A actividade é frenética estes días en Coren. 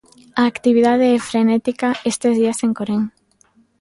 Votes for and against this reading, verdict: 0, 2, rejected